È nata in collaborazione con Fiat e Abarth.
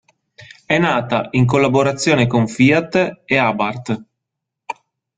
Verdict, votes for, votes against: accepted, 2, 0